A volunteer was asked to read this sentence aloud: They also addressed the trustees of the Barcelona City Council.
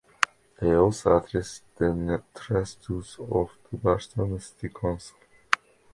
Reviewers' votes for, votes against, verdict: 1, 3, rejected